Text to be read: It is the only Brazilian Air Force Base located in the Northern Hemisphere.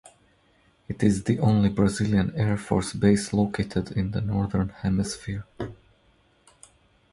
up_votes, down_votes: 4, 0